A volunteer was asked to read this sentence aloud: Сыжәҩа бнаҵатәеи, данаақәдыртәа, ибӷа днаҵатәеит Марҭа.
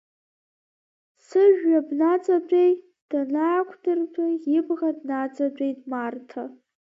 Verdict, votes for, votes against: rejected, 1, 2